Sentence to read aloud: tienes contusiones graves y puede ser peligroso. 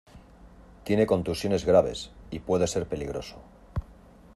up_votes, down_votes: 0, 2